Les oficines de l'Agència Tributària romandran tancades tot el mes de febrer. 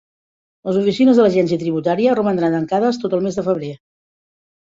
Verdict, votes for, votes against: rejected, 1, 2